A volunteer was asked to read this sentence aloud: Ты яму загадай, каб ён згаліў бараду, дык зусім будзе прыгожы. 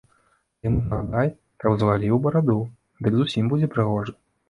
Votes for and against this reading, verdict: 0, 2, rejected